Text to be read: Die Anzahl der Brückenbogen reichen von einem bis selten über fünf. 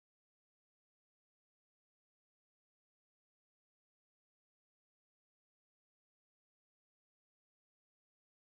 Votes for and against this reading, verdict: 0, 2, rejected